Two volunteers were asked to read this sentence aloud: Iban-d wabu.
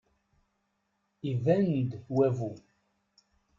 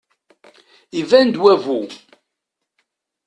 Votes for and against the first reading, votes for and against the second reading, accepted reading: 1, 2, 2, 0, second